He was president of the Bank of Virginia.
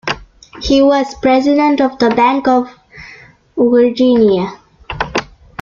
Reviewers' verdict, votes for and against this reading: accepted, 2, 0